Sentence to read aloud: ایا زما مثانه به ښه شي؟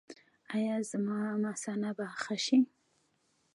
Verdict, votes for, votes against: rejected, 0, 2